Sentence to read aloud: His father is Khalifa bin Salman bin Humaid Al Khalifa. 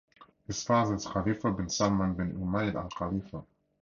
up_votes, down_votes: 4, 0